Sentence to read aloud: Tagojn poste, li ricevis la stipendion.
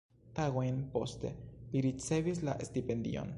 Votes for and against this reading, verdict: 3, 2, accepted